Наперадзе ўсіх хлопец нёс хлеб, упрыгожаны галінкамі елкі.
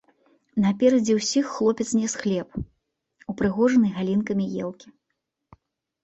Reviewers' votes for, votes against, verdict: 1, 2, rejected